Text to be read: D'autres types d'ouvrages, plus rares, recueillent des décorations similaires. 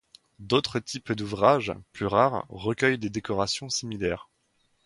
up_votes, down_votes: 2, 0